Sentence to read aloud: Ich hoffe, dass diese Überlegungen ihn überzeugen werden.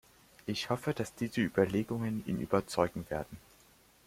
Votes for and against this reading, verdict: 2, 0, accepted